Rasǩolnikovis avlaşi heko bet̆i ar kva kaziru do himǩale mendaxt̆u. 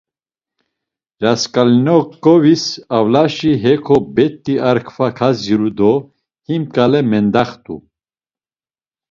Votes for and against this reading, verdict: 1, 2, rejected